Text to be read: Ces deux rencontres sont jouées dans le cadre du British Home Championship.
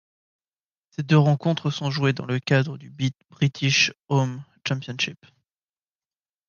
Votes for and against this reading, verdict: 0, 2, rejected